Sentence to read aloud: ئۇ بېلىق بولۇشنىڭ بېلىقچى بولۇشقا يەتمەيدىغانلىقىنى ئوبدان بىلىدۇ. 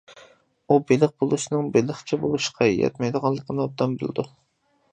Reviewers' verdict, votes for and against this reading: accepted, 2, 0